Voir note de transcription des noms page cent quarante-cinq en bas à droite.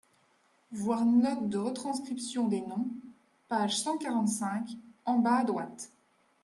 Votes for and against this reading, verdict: 0, 2, rejected